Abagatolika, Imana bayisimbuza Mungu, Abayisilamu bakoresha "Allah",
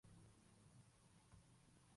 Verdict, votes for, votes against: rejected, 0, 2